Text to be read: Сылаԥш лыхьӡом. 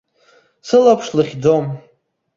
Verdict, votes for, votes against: accepted, 2, 0